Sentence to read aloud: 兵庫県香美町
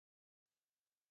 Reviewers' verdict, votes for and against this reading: rejected, 0, 2